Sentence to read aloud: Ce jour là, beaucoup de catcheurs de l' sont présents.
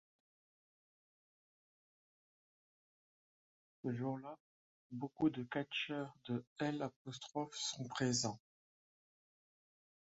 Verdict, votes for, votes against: rejected, 1, 3